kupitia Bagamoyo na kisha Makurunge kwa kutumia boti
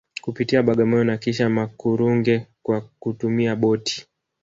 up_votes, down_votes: 0, 2